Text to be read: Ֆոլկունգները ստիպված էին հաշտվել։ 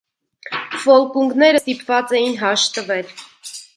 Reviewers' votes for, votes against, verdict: 0, 2, rejected